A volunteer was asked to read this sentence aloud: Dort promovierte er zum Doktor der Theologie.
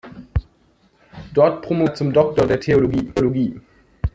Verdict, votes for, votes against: rejected, 0, 2